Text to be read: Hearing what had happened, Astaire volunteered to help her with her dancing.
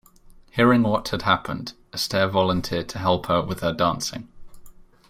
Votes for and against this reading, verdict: 2, 0, accepted